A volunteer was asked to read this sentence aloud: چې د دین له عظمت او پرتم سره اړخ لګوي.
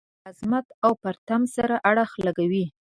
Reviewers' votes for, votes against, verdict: 0, 2, rejected